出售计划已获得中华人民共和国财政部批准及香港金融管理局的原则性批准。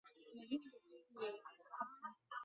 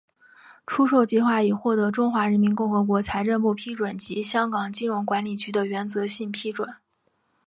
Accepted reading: second